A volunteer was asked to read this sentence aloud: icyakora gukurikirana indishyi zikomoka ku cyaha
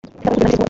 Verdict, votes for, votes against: rejected, 0, 2